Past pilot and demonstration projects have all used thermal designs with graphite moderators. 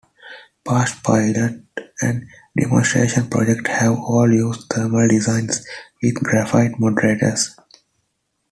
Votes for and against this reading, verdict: 2, 1, accepted